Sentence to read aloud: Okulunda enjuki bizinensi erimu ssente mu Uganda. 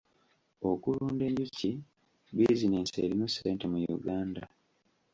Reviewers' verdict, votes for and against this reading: rejected, 1, 2